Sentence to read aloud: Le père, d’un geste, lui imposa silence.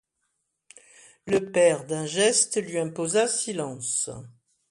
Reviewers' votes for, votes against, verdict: 2, 0, accepted